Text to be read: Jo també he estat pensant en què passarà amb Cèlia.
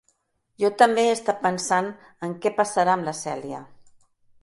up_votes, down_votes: 1, 2